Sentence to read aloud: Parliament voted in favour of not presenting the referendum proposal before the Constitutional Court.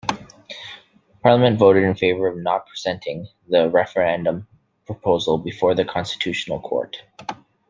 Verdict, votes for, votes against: accepted, 2, 0